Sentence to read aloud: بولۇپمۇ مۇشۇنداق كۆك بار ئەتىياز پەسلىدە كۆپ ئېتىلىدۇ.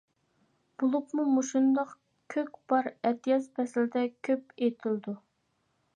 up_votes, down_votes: 2, 0